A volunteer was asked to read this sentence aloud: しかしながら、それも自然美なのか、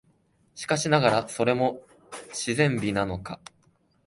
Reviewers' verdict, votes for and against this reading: accepted, 2, 0